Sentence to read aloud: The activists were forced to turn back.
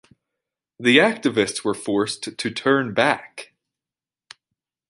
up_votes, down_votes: 1, 2